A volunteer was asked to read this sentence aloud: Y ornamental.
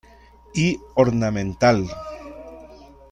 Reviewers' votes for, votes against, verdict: 2, 0, accepted